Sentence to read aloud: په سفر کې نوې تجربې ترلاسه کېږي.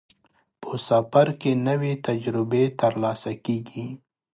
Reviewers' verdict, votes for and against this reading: accepted, 4, 0